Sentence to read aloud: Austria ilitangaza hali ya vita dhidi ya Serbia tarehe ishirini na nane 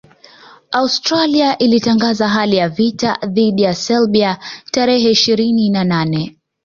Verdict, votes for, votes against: accepted, 2, 0